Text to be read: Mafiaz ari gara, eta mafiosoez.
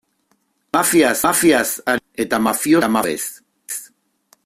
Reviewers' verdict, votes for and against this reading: rejected, 0, 2